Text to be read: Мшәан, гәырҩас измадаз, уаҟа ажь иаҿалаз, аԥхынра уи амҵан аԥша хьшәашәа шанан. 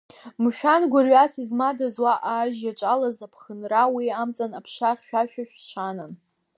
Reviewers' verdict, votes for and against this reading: accepted, 2, 1